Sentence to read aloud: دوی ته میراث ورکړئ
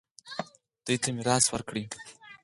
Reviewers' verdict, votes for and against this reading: rejected, 0, 4